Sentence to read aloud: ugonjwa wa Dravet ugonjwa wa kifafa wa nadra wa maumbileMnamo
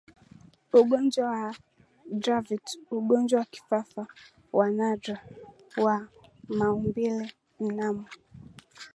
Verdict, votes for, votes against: accepted, 6, 2